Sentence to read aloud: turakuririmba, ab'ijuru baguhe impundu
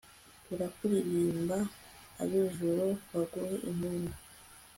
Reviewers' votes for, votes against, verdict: 3, 1, accepted